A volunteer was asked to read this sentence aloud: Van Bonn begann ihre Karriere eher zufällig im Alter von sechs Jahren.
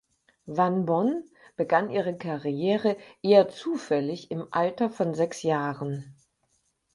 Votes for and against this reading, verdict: 4, 0, accepted